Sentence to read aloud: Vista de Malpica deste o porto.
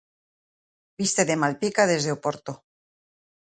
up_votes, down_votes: 2, 1